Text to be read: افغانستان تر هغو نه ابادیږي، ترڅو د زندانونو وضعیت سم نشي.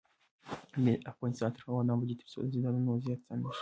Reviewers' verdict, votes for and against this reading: rejected, 1, 2